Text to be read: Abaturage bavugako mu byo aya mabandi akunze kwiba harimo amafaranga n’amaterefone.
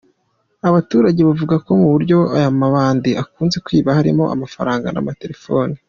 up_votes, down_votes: 2, 0